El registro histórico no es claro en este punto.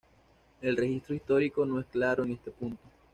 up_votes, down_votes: 2, 0